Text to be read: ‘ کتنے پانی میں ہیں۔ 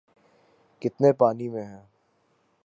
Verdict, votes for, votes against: accepted, 6, 0